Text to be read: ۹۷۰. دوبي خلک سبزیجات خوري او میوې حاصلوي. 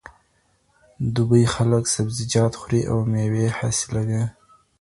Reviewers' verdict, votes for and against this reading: rejected, 0, 2